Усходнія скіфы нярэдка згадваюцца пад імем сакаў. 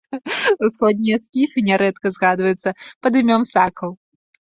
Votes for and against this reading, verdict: 1, 2, rejected